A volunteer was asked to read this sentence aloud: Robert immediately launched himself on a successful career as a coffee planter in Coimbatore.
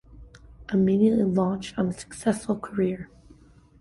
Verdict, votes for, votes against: rejected, 0, 2